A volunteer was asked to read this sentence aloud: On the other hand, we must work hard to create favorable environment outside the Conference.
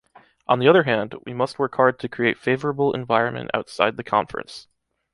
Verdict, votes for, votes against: rejected, 1, 2